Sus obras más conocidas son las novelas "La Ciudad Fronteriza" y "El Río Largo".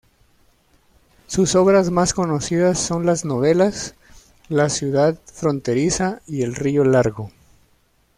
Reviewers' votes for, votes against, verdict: 1, 2, rejected